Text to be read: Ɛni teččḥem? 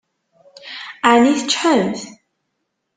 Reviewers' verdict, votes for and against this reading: rejected, 0, 2